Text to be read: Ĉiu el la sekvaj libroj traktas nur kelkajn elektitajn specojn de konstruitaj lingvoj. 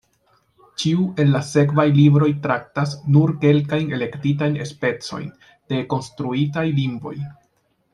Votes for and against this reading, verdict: 1, 2, rejected